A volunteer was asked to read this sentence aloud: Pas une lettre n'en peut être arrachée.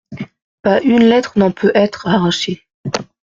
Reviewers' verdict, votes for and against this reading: accepted, 2, 1